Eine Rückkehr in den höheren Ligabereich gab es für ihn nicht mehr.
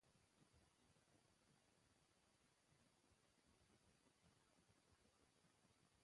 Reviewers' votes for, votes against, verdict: 0, 2, rejected